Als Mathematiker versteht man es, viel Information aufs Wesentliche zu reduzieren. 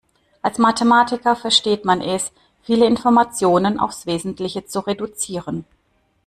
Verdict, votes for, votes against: rejected, 1, 2